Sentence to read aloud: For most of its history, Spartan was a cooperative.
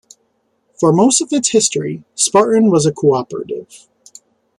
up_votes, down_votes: 2, 0